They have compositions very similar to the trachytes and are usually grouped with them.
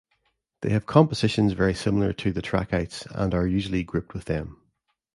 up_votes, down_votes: 1, 2